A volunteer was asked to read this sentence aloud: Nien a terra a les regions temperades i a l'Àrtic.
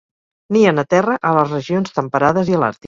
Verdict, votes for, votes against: rejected, 2, 4